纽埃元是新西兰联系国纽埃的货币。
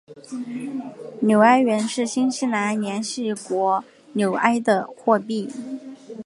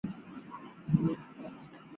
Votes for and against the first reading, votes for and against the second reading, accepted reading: 2, 0, 0, 2, first